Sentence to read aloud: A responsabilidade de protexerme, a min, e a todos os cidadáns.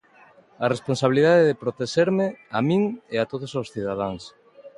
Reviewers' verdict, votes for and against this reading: accepted, 2, 0